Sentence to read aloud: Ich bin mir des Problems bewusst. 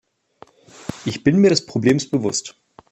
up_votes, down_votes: 2, 0